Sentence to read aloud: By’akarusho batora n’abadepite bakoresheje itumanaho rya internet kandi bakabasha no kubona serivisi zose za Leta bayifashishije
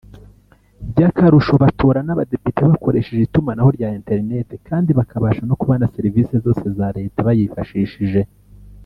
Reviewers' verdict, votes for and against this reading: rejected, 1, 2